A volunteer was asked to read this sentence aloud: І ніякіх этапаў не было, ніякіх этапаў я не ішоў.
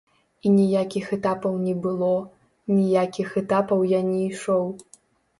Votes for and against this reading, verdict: 1, 3, rejected